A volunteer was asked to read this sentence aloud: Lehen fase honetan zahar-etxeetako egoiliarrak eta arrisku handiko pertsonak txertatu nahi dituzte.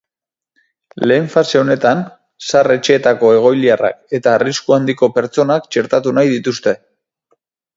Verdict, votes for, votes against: accepted, 2, 0